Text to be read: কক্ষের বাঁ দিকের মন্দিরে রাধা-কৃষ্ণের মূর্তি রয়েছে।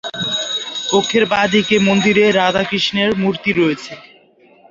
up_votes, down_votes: 2, 1